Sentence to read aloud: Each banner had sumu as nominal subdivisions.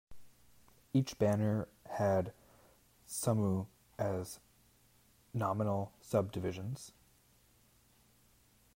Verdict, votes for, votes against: accepted, 2, 0